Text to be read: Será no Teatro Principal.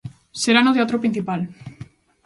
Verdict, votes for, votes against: accepted, 2, 0